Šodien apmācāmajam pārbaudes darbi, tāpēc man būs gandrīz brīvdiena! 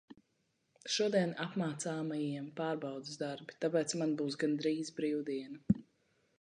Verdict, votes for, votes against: rejected, 0, 2